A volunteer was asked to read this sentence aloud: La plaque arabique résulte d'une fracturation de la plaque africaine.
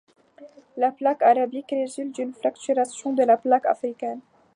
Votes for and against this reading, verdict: 2, 0, accepted